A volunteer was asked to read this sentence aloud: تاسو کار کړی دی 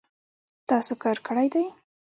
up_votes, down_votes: 1, 2